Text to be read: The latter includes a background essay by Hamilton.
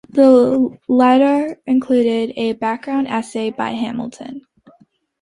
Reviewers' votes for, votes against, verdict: 2, 1, accepted